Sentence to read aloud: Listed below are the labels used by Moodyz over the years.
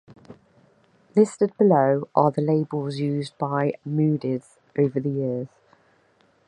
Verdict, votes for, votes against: accepted, 2, 0